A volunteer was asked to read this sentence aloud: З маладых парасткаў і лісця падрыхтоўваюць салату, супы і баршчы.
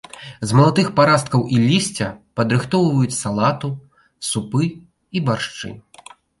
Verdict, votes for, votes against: rejected, 0, 2